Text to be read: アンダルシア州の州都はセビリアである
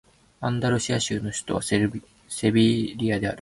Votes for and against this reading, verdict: 0, 2, rejected